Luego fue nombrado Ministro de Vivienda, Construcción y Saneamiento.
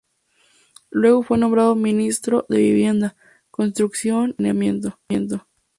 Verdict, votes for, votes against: rejected, 0, 2